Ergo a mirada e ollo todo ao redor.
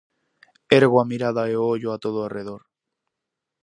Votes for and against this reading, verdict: 0, 4, rejected